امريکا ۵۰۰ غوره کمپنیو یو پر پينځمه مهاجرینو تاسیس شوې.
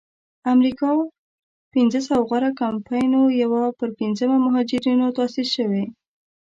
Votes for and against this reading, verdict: 0, 2, rejected